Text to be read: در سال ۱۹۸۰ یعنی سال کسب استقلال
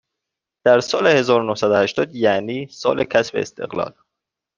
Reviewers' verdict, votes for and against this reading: rejected, 0, 2